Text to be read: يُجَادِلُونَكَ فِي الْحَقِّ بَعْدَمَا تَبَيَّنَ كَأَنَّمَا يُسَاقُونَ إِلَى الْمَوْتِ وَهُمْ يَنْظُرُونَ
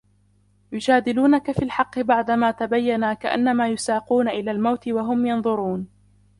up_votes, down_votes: 2, 0